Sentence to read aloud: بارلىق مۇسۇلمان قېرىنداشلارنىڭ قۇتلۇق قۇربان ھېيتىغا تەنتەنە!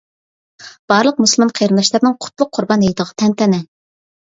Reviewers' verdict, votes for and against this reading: accepted, 2, 0